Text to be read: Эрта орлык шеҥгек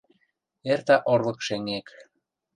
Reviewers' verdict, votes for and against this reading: rejected, 1, 2